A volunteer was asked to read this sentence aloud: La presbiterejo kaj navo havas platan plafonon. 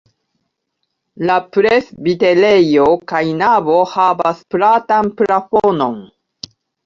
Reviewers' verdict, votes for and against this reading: rejected, 0, 2